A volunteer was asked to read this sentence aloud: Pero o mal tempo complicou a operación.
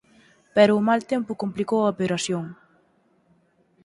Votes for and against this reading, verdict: 4, 0, accepted